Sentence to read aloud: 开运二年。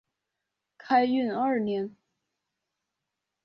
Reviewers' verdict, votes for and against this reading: accepted, 2, 0